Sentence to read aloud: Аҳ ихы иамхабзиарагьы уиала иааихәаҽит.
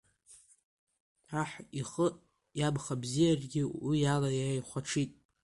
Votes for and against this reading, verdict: 2, 0, accepted